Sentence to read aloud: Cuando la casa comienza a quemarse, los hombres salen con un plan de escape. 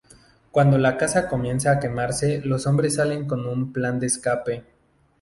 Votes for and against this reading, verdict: 2, 0, accepted